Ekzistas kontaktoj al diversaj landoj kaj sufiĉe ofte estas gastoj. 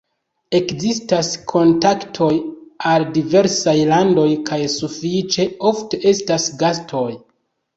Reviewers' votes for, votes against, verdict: 2, 1, accepted